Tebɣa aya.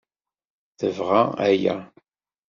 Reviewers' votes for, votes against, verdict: 2, 0, accepted